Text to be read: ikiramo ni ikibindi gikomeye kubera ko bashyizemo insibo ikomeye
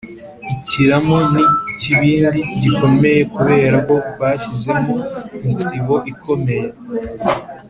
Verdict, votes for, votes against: accepted, 3, 0